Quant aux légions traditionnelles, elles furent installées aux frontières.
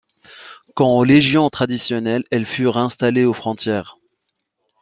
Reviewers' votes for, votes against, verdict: 1, 2, rejected